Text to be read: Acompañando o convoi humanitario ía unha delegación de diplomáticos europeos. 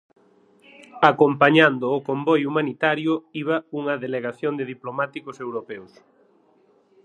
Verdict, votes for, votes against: rejected, 3, 6